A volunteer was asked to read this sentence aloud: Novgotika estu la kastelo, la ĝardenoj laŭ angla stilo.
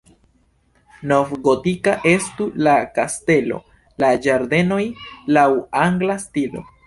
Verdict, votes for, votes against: rejected, 0, 3